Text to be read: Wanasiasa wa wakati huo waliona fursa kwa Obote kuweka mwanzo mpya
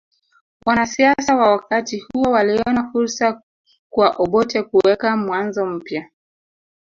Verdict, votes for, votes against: rejected, 1, 2